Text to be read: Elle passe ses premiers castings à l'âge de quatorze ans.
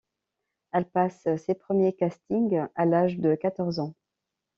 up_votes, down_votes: 2, 0